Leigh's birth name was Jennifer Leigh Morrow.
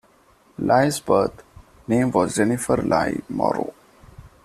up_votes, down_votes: 2, 1